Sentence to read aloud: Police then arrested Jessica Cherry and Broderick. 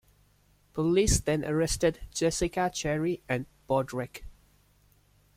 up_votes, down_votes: 1, 2